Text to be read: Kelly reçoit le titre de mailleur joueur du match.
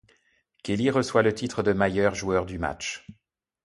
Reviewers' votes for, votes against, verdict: 2, 0, accepted